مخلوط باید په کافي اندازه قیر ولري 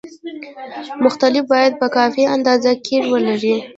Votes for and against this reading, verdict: 2, 0, accepted